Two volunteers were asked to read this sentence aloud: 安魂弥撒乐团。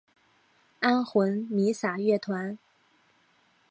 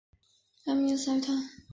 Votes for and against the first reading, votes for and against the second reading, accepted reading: 2, 0, 1, 2, first